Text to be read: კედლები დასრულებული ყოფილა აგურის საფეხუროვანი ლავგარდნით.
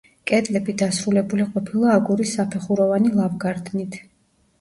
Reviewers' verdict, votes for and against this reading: accepted, 2, 0